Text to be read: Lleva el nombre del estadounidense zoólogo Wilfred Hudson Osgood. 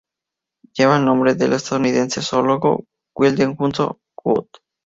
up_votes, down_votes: 0, 2